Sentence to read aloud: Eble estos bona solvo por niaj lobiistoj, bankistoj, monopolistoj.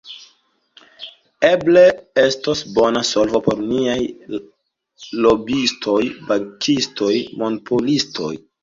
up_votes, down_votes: 1, 2